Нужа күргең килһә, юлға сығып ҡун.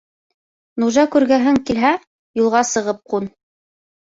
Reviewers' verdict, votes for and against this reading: rejected, 0, 3